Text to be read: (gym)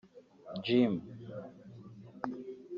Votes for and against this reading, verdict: 0, 3, rejected